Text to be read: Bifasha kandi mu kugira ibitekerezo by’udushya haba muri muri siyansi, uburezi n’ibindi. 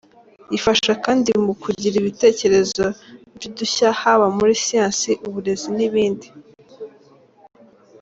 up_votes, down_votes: 2, 0